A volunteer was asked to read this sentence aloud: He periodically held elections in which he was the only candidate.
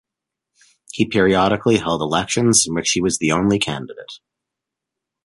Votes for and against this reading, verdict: 2, 1, accepted